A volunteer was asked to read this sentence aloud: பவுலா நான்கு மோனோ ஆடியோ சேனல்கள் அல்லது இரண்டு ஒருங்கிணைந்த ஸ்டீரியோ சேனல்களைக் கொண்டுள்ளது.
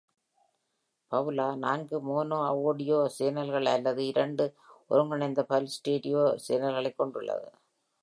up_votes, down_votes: 0, 2